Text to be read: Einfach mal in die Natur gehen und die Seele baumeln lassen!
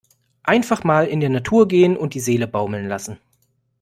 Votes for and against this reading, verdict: 1, 2, rejected